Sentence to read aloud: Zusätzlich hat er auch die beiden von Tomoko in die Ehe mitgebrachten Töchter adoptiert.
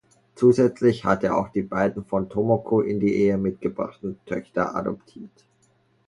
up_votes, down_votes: 0, 2